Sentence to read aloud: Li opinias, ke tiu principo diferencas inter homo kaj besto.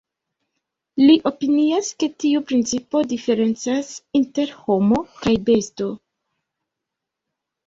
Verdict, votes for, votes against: accepted, 2, 1